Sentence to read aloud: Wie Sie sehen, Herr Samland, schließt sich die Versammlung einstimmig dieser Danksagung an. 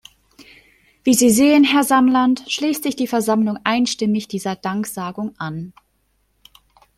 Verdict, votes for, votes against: accepted, 2, 1